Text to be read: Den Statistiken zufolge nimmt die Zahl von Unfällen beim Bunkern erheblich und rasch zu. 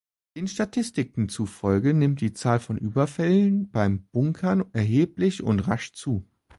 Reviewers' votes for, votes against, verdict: 0, 2, rejected